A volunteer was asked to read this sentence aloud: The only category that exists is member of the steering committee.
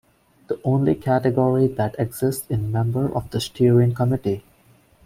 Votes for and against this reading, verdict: 0, 2, rejected